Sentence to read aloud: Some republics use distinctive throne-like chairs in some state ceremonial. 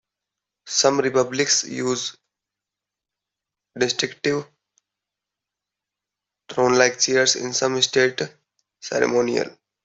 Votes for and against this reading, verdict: 1, 2, rejected